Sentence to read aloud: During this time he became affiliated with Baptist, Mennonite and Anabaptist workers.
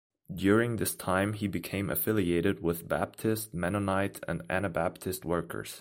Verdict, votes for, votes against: accepted, 2, 0